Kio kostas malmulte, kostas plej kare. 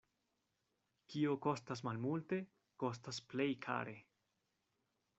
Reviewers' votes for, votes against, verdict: 2, 1, accepted